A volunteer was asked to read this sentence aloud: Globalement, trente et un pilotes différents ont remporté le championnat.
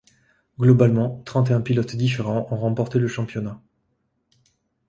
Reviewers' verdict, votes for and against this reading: accepted, 2, 0